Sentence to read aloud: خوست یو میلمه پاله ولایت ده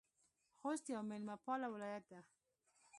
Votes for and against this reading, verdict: 1, 2, rejected